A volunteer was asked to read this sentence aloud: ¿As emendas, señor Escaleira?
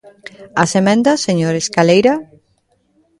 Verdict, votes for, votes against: accepted, 2, 0